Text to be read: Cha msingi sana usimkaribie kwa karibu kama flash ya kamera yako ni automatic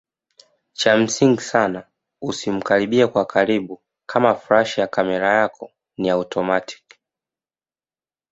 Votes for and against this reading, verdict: 2, 0, accepted